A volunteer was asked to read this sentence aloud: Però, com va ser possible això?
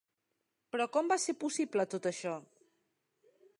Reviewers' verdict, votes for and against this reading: rejected, 0, 2